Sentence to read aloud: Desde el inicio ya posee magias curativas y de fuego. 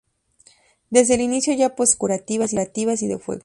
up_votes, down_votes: 0, 2